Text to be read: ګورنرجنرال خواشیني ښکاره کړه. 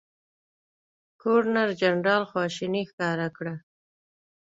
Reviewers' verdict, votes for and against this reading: accepted, 2, 0